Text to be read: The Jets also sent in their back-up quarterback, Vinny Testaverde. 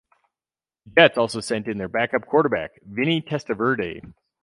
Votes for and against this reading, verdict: 2, 4, rejected